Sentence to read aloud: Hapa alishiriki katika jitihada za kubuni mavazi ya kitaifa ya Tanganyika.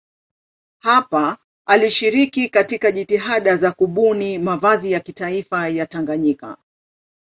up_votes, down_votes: 3, 0